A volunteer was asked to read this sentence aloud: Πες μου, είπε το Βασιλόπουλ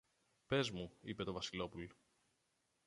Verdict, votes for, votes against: rejected, 0, 2